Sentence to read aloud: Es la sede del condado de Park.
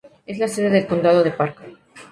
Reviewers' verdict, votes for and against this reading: accepted, 2, 0